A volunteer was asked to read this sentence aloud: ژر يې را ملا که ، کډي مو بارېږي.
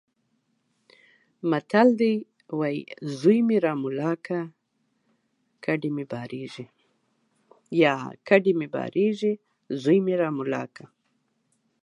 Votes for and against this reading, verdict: 1, 2, rejected